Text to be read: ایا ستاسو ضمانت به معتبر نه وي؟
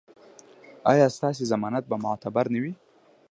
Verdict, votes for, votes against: accepted, 2, 0